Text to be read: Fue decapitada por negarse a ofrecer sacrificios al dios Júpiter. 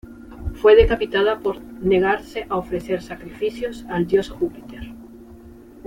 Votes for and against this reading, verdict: 2, 0, accepted